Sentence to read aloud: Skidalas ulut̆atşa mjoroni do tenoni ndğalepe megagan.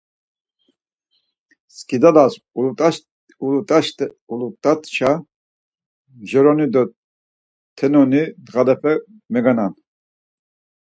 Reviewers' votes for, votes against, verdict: 0, 4, rejected